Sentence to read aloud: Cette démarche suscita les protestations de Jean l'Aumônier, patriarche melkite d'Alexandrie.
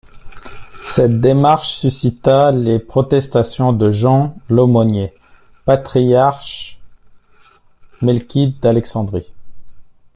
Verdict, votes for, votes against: rejected, 0, 2